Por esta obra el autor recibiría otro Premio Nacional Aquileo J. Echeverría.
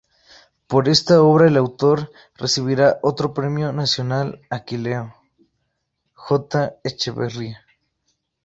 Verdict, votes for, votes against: rejected, 0, 2